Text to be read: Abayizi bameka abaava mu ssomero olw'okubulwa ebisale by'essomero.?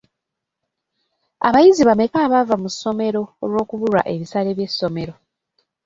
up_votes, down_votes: 0, 2